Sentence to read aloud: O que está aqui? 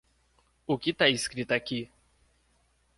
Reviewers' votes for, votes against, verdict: 0, 2, rejected